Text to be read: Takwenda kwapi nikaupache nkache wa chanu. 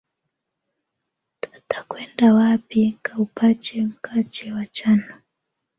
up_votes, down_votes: 2, 0